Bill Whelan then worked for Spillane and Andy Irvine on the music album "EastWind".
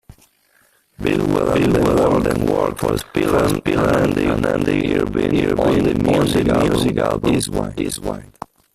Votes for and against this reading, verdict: 0, 2, rejected